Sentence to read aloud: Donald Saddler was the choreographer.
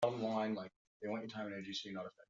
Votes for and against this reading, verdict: 0, 2, rejected